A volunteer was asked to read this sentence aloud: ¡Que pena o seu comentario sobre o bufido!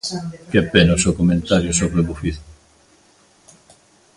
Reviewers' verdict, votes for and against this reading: accepted, 2, 1